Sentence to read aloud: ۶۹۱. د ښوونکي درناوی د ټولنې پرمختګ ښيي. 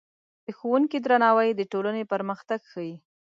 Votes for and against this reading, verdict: 0, 2, rejected